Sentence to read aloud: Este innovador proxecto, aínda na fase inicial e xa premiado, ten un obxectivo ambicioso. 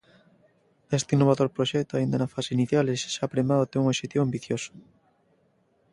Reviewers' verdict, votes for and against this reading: rejected, 0, 2